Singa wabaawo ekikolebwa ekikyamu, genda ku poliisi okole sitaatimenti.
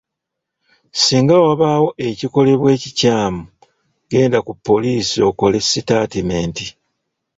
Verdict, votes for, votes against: accepted, 2, 1